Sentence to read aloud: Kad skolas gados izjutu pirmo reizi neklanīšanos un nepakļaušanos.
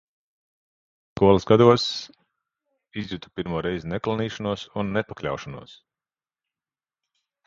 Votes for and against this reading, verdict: 0, 2, rejected